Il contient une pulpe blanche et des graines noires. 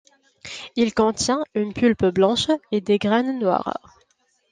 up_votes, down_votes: 2, 0